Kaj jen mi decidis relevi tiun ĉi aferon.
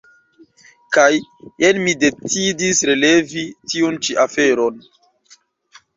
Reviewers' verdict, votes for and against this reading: accepted, 2, 0